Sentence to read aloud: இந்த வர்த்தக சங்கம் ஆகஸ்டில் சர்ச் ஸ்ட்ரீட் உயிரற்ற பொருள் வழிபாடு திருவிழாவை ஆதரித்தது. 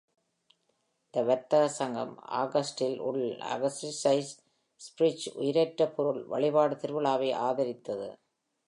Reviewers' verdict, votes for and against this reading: rejected, 0, 2